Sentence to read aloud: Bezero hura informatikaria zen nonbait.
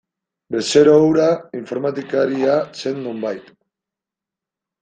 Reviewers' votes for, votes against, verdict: 0, 2, rejected